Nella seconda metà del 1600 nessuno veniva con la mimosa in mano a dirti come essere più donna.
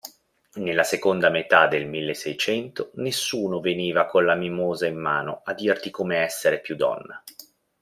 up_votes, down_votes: 0, 2